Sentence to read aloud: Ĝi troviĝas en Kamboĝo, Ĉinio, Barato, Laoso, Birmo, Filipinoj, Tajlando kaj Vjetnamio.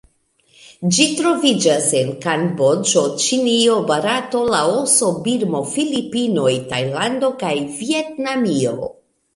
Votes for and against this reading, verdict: 0, 2, rejected